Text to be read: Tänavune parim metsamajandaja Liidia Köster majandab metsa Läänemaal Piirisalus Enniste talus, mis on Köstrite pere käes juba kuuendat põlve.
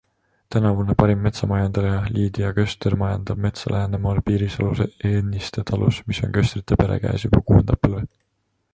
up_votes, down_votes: 2, 1